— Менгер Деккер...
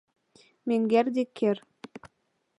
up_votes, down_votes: 2, 1